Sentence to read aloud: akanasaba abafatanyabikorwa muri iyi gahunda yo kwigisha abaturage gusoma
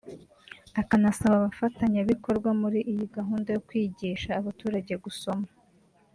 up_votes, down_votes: 0, 2